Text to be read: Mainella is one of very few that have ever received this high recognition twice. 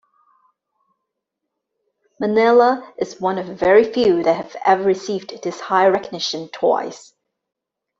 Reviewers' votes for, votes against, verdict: 1, 2, rejected